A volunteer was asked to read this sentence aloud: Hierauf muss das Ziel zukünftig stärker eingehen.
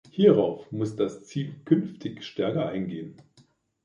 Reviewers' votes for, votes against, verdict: 0, 2, rejected